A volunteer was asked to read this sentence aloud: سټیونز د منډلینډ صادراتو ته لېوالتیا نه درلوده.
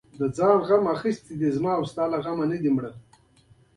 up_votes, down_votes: 2, 1